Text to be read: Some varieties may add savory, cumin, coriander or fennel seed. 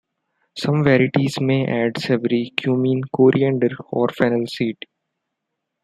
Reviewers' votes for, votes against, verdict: 0, 2, rejected